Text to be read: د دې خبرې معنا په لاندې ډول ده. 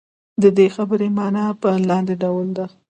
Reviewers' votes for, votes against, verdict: 2, 0, accepted